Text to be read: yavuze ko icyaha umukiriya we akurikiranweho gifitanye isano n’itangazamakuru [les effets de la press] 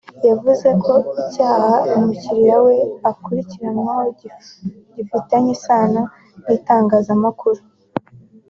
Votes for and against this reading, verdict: 1, 2, rejected